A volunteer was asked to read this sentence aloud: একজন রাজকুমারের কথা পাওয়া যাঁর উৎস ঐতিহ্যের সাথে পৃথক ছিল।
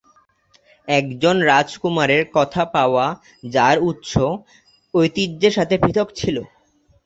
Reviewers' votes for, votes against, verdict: 2, 0, accepted